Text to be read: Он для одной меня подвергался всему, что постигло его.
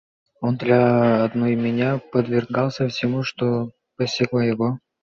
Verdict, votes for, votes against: accepted, 2, 1